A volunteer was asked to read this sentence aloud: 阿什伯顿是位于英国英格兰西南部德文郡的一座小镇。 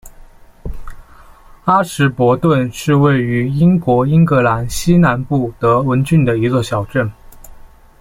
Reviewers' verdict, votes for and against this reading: accepted, 2, 1